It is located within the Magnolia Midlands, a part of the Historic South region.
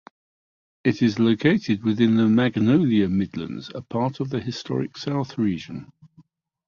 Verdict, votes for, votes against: accepted, 2, 0